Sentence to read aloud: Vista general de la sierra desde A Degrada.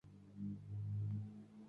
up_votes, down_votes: 0, 2